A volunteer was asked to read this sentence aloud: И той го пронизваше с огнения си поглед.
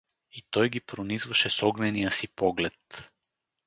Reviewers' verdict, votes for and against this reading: rejected, 2, 2